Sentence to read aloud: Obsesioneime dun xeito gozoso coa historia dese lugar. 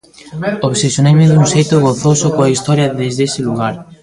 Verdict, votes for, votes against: rejected, 0, 2